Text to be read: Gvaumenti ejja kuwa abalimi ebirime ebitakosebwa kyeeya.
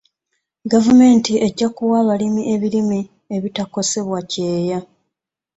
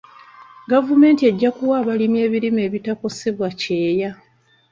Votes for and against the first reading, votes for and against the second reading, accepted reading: 2, 0, 0, 2, first